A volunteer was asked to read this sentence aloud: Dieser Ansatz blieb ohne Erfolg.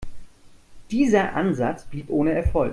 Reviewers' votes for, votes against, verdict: 1, 2, rejected